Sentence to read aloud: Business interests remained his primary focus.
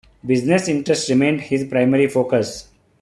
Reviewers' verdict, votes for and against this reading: accepted, 2, 0